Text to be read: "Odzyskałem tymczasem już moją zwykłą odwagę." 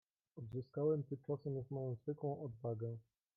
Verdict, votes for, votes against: rejected, 1, 2